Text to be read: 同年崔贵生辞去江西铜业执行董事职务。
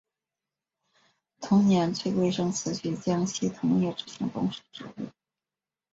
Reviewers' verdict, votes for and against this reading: accepted, 2, 1